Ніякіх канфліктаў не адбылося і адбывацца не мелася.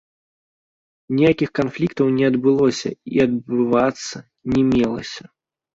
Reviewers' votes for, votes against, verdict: 0, 2, rejected